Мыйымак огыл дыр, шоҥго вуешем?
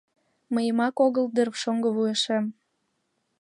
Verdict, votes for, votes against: accepted, 2, 0